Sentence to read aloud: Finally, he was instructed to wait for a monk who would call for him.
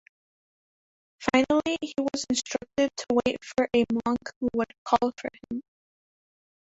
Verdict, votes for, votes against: rejected, 1, 3